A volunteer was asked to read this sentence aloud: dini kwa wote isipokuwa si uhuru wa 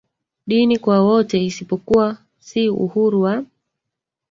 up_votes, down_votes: 2, 1